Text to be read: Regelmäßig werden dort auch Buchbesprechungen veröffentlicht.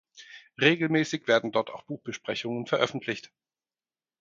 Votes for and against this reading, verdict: 4, 0, accepted